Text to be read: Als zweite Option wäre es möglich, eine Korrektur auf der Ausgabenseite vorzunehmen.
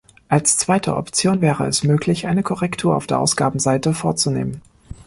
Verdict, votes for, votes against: accepted, 2, 0